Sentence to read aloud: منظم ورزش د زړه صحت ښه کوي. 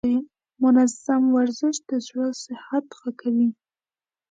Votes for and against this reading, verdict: 2, 0, accepted